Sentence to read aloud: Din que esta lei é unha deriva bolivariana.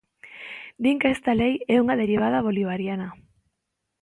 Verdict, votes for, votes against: rejected, 0, 3